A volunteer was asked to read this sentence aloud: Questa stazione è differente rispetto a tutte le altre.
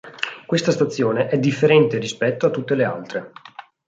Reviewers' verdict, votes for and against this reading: accepted, 2, 0